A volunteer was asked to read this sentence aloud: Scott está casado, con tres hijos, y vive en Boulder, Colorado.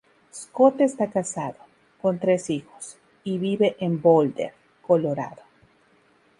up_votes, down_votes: 2, 2